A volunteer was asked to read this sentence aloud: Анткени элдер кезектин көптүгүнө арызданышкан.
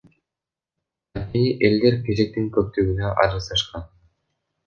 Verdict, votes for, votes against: rejected, 0, 2